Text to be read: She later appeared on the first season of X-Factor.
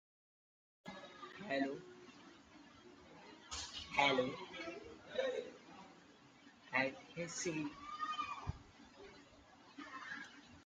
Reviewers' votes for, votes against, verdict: 1, 2, rejected